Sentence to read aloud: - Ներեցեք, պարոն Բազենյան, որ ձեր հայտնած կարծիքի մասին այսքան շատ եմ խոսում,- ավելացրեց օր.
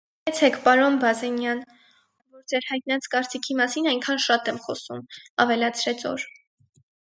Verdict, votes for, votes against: rejected, 0, 4